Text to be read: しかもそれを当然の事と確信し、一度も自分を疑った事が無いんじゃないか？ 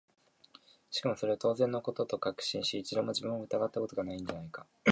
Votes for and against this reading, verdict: 2, 3, rejected